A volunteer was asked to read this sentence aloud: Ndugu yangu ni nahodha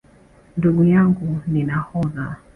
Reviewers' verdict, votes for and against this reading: accepted, 2, 0